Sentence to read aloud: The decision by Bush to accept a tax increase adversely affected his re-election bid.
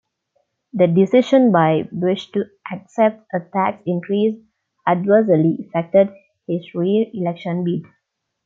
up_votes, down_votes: 2, 0